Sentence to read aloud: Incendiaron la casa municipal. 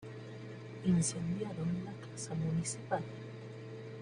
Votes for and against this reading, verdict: 1, 2, rejected